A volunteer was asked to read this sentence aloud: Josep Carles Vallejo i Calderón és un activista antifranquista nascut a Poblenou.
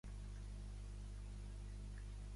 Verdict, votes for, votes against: rejected, 0, 2